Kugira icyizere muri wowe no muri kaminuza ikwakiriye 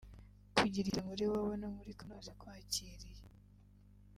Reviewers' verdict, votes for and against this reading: rejected, 1, 3